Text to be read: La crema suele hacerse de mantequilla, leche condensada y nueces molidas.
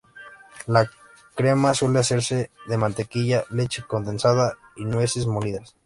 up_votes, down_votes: 1, 2